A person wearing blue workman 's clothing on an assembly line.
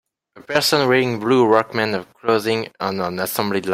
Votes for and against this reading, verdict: 0, 2, rejected